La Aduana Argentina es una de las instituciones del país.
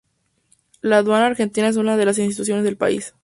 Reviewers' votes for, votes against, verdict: 6, 0, accepted